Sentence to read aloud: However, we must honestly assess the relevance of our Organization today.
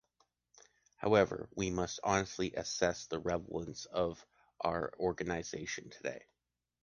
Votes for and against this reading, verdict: 2, 1, accepted